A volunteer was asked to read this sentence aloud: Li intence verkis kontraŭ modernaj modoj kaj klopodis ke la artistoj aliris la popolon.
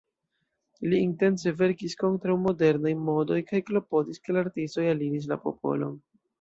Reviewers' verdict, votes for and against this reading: accepted, 2, 0